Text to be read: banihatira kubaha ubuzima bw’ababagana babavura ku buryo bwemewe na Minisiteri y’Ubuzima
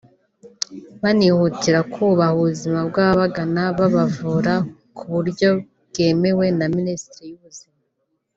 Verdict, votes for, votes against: rejected, 1, 3